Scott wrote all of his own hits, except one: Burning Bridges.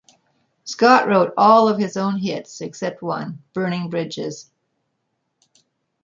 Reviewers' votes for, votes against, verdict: 2, 0, accepted